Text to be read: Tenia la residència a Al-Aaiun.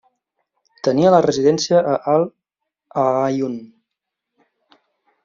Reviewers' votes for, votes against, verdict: 1, 2, rejected